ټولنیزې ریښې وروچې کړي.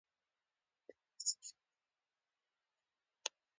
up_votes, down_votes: 2, 1